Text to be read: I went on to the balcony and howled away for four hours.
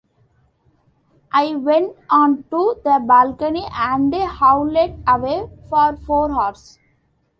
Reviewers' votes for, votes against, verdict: 1, 2, rejected